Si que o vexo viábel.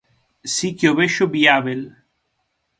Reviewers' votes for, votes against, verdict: 6, 0, accepted